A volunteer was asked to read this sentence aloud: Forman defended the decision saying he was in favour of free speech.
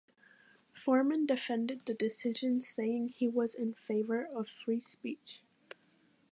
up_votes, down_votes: 2, 0